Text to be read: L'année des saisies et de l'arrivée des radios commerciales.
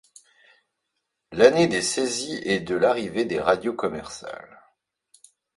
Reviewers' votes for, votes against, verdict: 2, 0, accepted